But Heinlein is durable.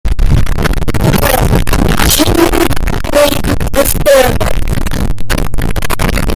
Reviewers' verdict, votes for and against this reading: rejected, 0, 2